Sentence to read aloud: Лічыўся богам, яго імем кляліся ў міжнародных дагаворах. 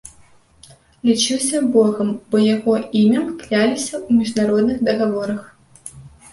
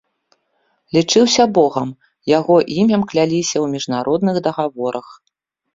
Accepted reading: second